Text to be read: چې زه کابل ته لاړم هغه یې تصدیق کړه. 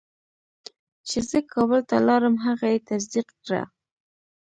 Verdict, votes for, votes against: rejected, 1, 2